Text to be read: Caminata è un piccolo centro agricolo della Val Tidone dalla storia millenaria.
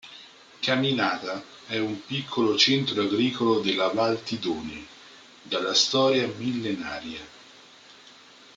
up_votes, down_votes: 0, 2